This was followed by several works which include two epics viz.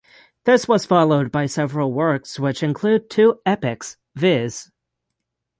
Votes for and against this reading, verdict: 6, 0, accepted